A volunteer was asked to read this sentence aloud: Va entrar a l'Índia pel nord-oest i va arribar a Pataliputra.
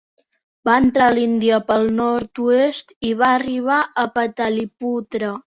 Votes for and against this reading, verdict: 3, 0, accepted